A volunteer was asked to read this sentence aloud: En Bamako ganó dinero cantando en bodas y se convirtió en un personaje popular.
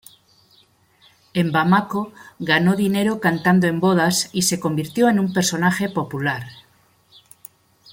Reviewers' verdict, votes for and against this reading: accepted, 2, 0